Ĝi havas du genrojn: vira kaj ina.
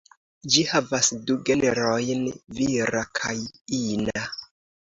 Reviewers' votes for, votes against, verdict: 2, 0, accepted